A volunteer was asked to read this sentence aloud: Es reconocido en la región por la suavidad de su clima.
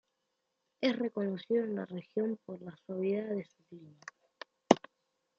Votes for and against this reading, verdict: 1, 2, rejected